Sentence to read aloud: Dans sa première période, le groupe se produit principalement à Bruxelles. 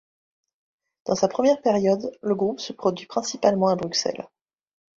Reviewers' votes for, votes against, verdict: 2, 1, accepted